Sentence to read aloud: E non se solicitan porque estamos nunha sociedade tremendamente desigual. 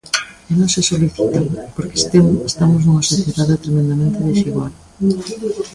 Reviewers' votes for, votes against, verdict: 0, 2, rejected